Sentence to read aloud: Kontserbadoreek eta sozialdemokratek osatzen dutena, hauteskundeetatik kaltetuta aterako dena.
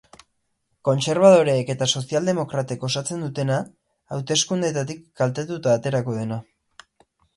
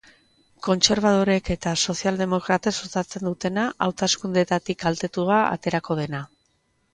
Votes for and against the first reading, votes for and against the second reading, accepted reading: 8, 0, 1, 2, first